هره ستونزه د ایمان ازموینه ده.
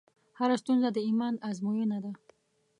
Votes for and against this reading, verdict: 3, 1, accepted